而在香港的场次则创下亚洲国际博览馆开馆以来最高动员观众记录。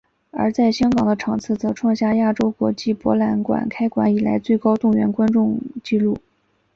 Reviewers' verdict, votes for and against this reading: accepted, 2, 0